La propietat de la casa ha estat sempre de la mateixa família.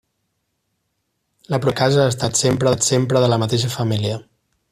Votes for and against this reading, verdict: 0, 2, rejected